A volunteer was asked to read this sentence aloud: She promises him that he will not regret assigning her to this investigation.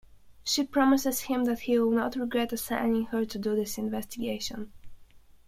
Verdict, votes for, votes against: rejected, 1, 2